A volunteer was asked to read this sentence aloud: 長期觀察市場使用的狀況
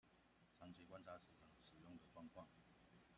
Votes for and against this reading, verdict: 1, 2, rejected